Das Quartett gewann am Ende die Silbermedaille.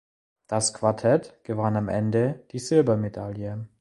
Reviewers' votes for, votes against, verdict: 2, 0, accepted